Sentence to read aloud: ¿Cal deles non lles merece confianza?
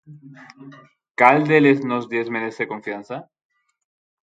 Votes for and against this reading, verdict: 0, 6, rejected